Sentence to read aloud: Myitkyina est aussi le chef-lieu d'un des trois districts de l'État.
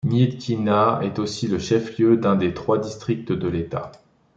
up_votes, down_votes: 2, 0